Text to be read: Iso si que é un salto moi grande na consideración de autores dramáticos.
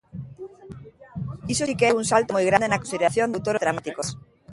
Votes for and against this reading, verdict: 0, 2, rejected